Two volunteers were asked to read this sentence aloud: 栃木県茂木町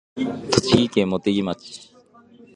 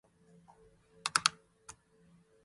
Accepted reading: first